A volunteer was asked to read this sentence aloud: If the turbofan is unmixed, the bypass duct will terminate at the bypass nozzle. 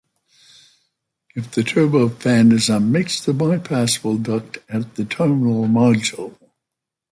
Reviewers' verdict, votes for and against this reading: rejected, 0, 2